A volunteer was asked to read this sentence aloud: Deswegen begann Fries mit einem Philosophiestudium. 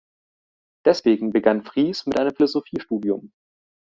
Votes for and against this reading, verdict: 2, 0, accepted